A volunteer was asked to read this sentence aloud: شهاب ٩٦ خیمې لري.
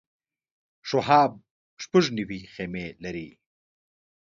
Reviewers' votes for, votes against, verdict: 0, 2, rejected